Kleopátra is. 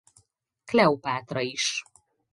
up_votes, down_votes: 4, 0